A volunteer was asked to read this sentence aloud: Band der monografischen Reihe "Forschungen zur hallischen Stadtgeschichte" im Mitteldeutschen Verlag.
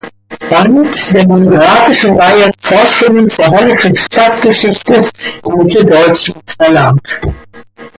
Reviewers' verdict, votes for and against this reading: accepted, 2, 1